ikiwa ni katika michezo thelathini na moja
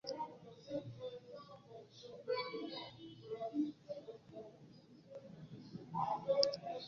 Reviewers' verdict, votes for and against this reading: rejected, 2, 3